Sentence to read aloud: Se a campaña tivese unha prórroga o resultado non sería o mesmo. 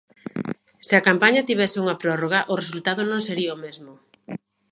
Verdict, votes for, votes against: accepted, 2, 0